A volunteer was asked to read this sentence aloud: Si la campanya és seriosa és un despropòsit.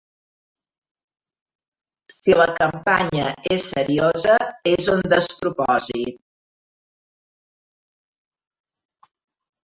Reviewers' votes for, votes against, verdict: 0, 2, rejected